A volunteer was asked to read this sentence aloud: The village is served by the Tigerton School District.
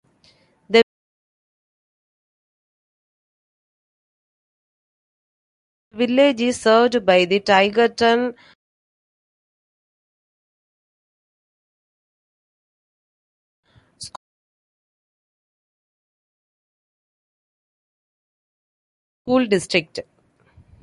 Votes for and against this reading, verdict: 0, 2, rejected